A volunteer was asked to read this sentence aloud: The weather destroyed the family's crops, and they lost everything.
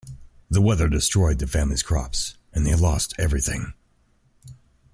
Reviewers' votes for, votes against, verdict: 2, 0, accepted